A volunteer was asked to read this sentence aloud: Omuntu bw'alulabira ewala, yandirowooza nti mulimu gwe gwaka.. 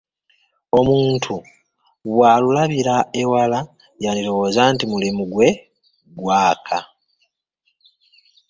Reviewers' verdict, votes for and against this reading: rejected, 0, 2